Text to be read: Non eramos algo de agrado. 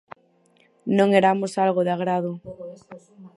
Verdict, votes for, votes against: rejected, 0, 4